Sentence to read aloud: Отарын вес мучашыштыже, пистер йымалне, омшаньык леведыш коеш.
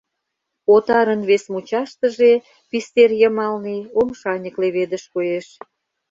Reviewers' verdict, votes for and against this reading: rejected, 1, 2